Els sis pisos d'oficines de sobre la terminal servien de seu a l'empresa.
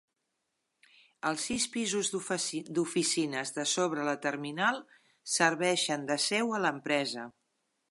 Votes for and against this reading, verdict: 0, 2, rejected